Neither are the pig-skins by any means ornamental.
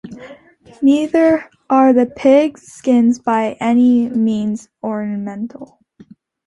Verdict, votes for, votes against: accepted, 2, 0